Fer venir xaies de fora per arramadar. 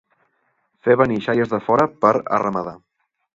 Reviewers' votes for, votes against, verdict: 2, 0, accepted